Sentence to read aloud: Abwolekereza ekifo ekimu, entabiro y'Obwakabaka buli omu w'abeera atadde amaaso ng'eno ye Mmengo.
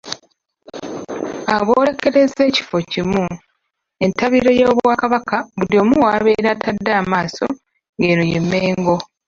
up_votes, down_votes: 1, 2